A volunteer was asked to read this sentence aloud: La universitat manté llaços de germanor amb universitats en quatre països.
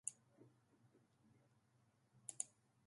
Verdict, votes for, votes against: rejected, 0, 2